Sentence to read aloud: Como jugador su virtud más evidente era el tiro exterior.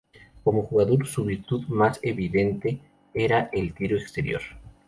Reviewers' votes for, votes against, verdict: 2, 0, accepted